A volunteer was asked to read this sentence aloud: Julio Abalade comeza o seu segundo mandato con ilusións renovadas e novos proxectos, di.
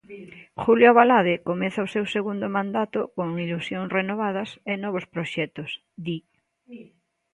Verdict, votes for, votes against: rejected, 1, 2